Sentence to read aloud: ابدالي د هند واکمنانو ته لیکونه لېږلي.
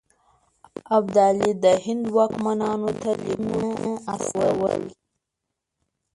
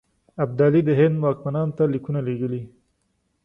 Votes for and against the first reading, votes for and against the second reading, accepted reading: 1, 2, 2, 0, second